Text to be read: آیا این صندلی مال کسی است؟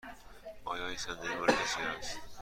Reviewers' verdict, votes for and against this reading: accepted, 2, 0